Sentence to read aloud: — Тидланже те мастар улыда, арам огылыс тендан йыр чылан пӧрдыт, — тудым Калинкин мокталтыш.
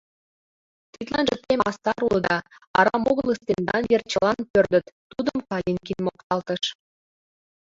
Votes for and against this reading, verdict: 2, 0, accepted